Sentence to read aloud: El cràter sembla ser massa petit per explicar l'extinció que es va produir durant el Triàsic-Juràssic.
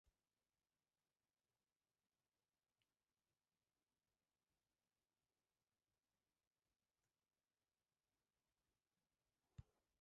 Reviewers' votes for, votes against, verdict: 0, 2, rejected